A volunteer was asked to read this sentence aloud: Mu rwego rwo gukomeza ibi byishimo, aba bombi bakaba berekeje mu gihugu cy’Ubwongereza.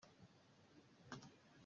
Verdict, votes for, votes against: rejected, 0, 2